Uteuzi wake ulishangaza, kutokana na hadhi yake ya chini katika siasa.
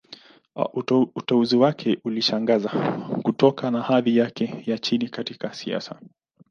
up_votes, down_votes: 2, 0